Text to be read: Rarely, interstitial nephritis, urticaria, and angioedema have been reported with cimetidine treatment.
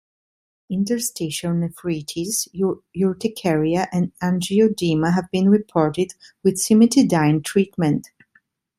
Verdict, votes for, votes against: rejected, 1, 2